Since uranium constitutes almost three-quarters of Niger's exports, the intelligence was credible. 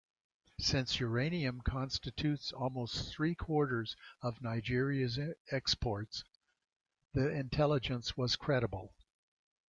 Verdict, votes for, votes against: rejected, 1, 2